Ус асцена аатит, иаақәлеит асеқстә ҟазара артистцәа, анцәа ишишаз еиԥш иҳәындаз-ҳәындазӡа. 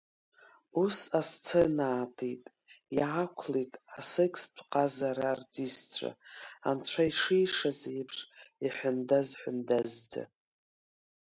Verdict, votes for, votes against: rejected, 1, 2